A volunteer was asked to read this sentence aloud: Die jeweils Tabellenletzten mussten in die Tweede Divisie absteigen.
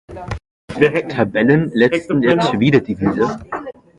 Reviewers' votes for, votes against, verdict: 0, 2, rejected